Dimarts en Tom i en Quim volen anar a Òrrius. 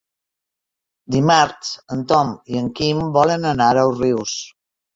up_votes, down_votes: 0, 2